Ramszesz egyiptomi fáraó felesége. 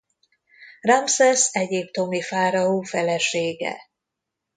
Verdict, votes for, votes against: accepted, 2, 0